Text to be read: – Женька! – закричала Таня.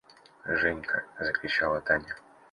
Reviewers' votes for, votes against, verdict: 2, 0, accepted